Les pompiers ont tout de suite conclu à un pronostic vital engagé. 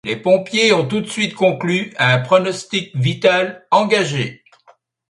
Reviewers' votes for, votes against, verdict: 2, 0, accepted